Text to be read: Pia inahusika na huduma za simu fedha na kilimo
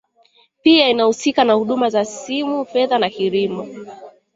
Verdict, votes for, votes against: rejected, 2, 3